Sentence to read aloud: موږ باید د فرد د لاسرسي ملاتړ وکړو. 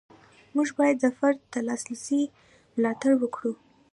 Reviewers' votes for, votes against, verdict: 2, 0, accepted